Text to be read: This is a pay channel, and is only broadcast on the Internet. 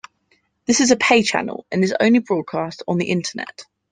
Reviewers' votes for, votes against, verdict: 2, 0, accepted